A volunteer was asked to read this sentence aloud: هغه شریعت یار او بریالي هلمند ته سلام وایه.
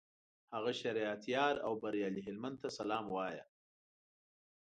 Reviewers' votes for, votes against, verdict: 2, 1, accepted